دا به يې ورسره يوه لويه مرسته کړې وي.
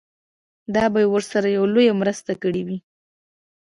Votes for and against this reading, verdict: 2, 0, accepted